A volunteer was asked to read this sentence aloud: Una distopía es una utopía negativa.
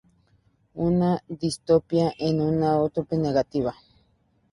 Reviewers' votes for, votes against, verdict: 2, 2, rejected